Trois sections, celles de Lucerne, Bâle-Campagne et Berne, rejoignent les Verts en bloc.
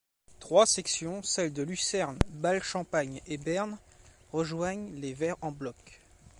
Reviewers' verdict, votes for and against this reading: rejected, 0, 2